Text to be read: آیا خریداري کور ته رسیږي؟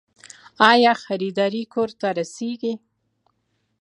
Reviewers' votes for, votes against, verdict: 3, 0, accepted